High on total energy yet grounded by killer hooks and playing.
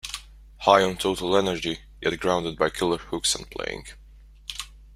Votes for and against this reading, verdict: 2, 0, accepted